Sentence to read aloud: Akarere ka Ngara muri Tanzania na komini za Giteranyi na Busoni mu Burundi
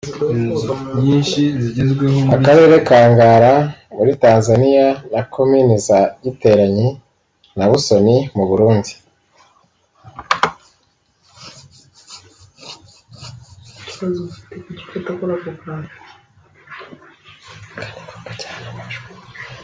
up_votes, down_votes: 0, 2